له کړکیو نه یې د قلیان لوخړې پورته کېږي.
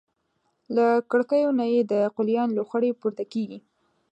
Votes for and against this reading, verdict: 2, 0, accepted